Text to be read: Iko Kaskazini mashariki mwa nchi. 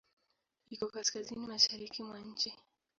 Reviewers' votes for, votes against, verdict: 5, 7, rejected